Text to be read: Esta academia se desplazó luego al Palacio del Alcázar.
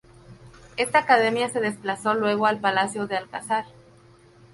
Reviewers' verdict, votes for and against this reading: rejected, 2, 2